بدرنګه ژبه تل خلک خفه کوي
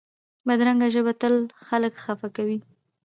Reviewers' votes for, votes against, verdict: 2, 0, accepted